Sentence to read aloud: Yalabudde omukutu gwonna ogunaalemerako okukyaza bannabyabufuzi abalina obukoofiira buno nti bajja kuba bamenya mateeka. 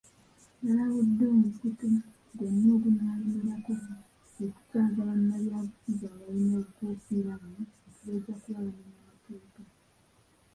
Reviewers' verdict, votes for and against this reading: rejected, 0, 2